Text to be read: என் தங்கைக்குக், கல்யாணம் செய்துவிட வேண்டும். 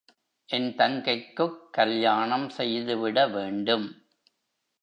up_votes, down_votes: 2, 0